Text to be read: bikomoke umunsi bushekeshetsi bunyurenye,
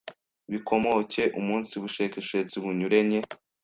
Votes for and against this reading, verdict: 1, 2, rejected